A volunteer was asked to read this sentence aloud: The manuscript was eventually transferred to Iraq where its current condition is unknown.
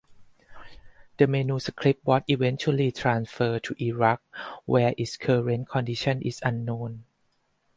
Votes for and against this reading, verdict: 2, 4, rejected